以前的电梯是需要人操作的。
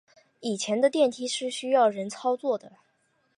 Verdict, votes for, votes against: accepted, 2, 0